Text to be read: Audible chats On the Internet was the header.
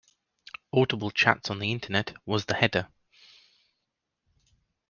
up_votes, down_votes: 2, 0